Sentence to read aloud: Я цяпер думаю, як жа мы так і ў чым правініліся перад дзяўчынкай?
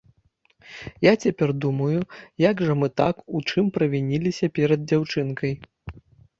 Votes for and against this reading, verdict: 1, 2, rejected